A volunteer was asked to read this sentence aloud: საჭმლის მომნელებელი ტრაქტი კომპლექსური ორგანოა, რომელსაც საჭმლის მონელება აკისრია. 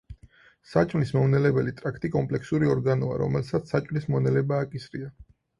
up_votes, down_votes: 4, 0